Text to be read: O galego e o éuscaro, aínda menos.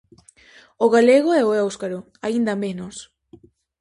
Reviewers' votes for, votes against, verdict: 4, 0, accepted